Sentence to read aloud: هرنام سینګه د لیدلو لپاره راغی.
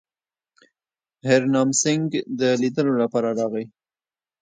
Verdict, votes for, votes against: accepted, 2, 0